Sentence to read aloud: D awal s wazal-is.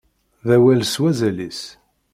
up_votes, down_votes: 2, 0